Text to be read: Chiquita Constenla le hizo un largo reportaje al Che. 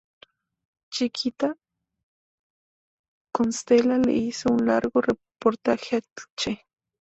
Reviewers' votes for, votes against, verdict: 0, 2, rejected